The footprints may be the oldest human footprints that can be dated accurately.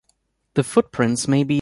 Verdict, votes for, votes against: rejected, 0, 2